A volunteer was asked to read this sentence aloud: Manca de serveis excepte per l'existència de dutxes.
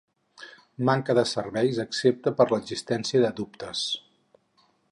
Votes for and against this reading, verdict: 0, 6, rejected